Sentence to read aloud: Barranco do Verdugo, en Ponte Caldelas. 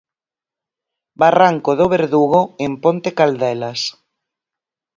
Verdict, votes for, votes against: accepted, 4, 0